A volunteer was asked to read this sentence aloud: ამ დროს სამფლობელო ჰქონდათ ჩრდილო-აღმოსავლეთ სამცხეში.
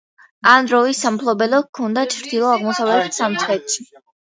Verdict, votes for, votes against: rejected, 0, 2